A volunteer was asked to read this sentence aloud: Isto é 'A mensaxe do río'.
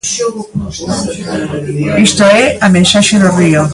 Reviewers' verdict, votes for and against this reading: rejected, 1, 2